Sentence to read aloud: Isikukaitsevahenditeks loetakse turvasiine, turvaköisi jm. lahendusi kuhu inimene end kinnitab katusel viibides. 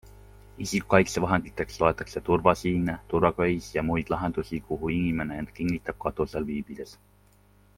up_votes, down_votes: 2, 0